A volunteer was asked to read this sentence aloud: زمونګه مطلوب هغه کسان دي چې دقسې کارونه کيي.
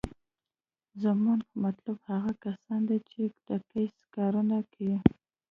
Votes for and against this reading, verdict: 2, 0, accepted